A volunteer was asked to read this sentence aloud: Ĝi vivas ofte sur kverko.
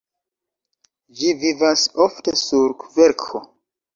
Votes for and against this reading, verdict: 2, 0, accepted